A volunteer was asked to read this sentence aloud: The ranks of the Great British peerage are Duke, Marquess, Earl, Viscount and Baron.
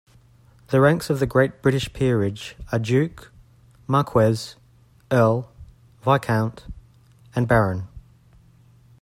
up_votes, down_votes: 2, 1